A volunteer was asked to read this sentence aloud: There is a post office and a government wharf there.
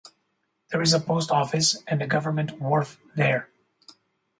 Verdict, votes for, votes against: accepted, 4, 0